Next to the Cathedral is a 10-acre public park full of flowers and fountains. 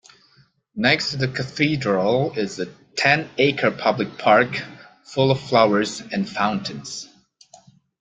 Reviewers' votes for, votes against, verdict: 0, 2, rejected